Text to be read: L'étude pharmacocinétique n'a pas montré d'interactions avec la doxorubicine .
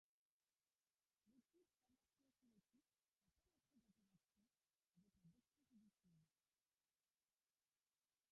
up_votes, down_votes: 0, 2